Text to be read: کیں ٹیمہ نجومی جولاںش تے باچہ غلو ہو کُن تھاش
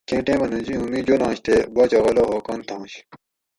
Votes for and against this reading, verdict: 4, 0, accepted